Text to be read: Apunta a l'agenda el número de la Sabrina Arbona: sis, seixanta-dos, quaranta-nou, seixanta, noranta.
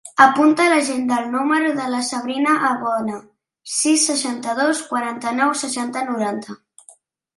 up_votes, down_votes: 2, 1